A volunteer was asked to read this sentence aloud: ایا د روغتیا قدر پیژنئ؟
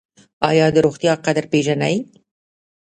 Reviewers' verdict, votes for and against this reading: rejected, 1, 2